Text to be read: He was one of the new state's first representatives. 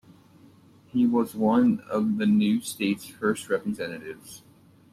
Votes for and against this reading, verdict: 2, 0, accepted